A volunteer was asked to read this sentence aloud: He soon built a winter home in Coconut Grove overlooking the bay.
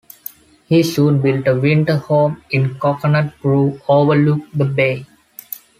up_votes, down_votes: 1, 2